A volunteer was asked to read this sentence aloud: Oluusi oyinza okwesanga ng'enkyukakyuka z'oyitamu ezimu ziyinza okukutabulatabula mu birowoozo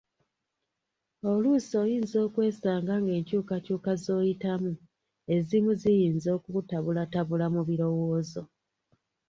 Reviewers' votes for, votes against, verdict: 2, 0, accepted